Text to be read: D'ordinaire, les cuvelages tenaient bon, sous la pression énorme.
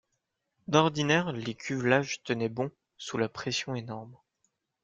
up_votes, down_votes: 2, 0